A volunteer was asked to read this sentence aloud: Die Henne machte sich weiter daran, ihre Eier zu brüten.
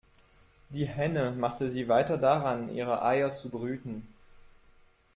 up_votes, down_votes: 1, 2